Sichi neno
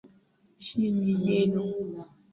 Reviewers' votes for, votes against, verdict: 0, 2, rejected